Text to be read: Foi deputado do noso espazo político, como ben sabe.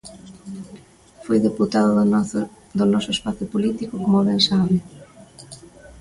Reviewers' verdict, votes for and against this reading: rejected, 0, 2